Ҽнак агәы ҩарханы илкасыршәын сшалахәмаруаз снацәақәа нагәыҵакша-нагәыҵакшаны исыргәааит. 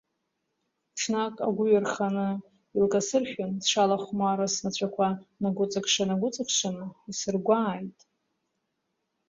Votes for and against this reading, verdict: 1, 2, rejected